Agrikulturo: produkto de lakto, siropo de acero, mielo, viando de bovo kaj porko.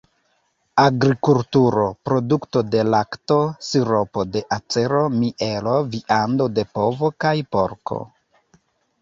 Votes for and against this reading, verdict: 1, 2, rejected